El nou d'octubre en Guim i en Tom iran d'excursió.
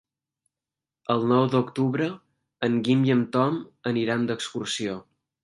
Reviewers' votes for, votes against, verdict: 0, 2, rejected